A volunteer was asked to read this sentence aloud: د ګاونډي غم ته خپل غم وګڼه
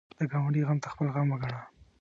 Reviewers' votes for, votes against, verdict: 1, 2, rejected